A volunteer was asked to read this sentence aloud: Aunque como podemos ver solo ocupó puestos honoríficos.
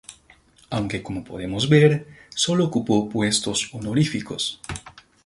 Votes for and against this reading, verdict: 2, 0, accepted